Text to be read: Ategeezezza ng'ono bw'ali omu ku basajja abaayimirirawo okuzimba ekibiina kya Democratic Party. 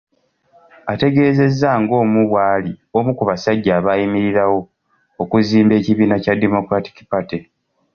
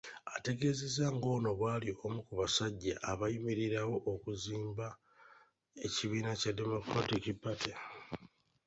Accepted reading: second